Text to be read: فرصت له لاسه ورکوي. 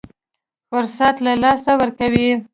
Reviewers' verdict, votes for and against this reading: accepted, 2, 0